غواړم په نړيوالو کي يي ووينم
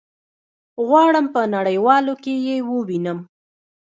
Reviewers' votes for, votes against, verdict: 2, 1, accepted